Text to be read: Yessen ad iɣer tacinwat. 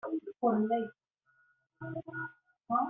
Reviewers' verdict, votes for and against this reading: rejected, 0, 2